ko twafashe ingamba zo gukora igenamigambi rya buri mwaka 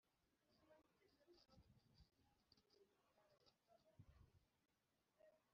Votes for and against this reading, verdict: 1, 2, rejected